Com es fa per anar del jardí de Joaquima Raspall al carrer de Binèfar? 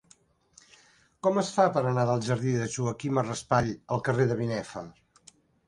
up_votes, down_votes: 6, 0